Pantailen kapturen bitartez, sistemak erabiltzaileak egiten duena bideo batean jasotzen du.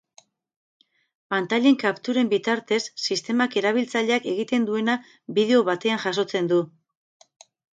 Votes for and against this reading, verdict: 10, 0, accepted